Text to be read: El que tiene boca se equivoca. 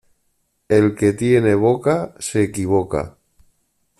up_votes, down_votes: 2, 0